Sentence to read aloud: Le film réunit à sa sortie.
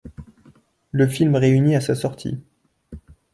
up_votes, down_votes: 2, 0